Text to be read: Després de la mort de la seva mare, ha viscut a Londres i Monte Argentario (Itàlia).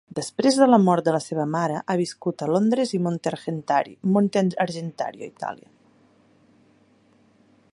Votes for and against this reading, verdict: 0, 2, rejected